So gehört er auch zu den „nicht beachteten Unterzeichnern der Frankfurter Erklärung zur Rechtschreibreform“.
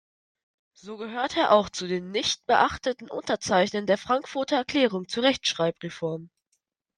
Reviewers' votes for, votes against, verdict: 2, 0, accepted